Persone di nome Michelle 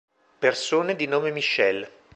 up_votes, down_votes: 2, 0